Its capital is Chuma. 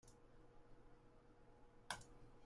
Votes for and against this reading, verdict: 0, 2, rejected